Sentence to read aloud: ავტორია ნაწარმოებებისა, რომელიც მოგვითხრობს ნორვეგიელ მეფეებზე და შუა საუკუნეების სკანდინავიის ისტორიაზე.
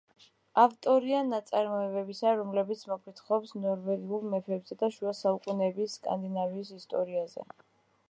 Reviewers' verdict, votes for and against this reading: accepted, 2, 1